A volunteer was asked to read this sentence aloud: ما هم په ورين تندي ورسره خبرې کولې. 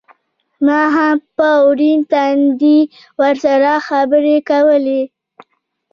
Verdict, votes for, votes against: accepted, 2, 0